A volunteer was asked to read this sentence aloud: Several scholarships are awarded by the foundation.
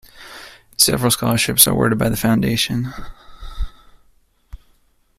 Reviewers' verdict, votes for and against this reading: rejected, 1, 2